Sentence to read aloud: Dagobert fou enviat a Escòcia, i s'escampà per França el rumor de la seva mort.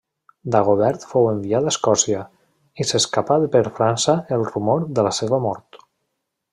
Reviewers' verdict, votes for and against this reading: rejected, 1, 2